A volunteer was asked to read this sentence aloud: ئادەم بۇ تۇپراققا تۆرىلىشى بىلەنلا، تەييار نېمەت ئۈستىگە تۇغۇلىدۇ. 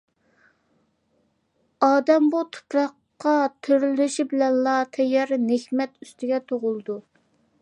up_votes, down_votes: 0, 2